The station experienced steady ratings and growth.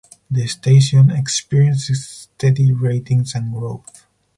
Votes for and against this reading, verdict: 2, 2, rejected